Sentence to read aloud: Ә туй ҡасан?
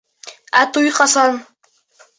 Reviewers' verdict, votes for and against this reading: accepted, 2, 0